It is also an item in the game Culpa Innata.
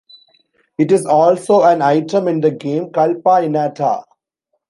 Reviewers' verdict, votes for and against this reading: accepted, 2, 0